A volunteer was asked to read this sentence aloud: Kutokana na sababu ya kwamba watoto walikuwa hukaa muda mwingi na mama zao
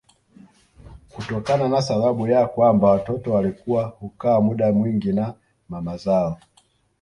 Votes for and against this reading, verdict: 2, 0, accepted